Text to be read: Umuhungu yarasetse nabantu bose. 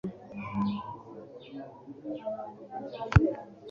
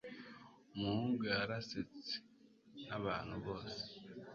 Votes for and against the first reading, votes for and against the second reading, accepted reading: 1, 2, 2, 1, second